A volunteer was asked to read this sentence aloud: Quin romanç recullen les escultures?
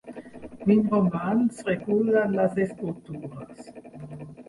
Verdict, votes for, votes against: accepted, 2, 1